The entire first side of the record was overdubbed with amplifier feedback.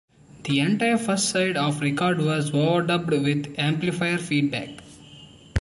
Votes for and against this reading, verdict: 1, 2, rejected